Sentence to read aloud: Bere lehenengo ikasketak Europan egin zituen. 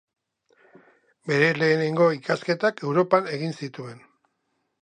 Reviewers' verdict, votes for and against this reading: accepted, 2, 0